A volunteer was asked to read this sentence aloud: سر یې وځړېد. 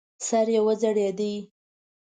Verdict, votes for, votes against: rejected, 0, 2